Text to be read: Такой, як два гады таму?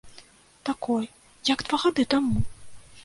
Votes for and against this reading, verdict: 2, 0, accepted